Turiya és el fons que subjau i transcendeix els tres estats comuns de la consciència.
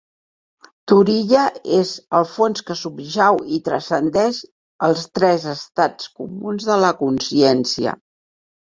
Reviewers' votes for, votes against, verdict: 2, 0, accepted